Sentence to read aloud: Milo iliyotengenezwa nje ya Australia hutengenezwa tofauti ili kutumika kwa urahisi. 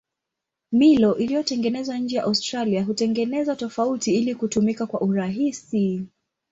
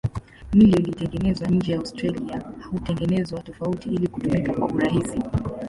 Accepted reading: first